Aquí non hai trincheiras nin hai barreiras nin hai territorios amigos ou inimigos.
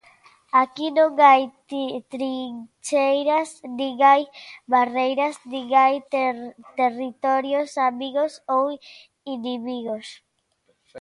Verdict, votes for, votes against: rejected, 0, 2